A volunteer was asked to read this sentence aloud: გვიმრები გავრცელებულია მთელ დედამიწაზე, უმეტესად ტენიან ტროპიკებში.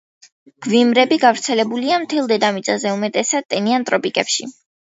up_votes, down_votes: 2, 0